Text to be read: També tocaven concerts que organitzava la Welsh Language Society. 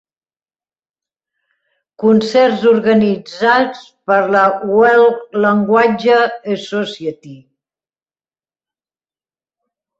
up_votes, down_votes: 0, 2